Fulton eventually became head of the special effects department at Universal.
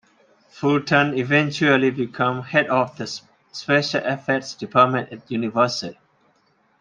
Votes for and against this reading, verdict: 0, 2, rejected